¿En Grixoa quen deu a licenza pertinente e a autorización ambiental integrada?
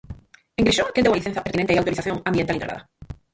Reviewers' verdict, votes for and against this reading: rejected, 0, 4